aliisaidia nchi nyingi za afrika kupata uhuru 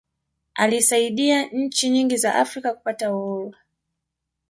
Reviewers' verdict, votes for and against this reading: rejected, 1, 2